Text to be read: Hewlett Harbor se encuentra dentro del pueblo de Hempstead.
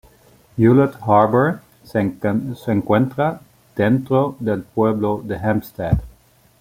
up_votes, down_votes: 2, 0